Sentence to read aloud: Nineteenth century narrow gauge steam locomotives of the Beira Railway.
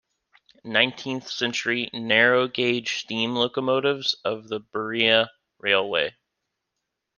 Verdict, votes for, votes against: rejected, 1, 2